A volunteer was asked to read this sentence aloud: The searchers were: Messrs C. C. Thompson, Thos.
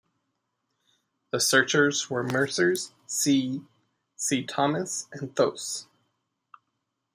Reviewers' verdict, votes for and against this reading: rejected, 0, 2